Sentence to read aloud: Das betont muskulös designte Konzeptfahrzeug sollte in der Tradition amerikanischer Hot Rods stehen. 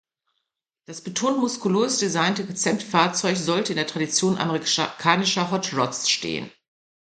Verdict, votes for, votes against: rejected, 0, 2